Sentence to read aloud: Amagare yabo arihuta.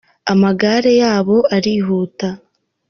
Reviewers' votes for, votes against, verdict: 2, 1, accepted